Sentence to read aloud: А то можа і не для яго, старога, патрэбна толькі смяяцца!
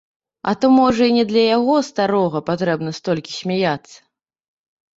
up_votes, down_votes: 1, 2